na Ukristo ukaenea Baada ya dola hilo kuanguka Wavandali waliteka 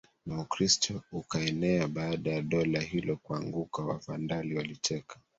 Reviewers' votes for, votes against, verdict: 1, 2, rejected